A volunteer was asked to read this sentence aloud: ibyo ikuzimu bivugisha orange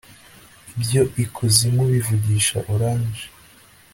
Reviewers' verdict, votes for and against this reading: accepted, 2, 0